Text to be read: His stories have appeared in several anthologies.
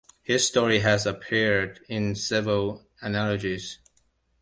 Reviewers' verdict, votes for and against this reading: rejected, 0, 2